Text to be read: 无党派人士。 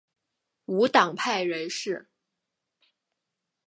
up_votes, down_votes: 3, 0